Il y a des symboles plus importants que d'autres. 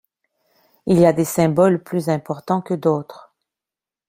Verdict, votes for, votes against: accepted, 2, 0